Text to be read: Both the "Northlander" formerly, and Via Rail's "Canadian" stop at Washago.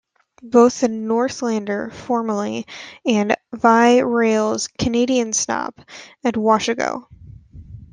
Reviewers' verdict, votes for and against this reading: rejected, 0, 2